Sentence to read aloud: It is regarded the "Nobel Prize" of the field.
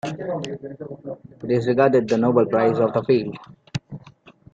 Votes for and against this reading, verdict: 2, 0, accepted